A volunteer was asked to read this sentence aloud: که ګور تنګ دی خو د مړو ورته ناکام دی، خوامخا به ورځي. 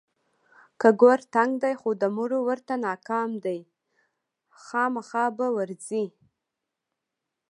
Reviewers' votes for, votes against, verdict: 2, 0, accepted